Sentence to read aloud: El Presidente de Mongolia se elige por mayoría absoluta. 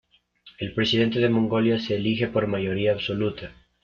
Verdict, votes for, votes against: accepted, 2, 0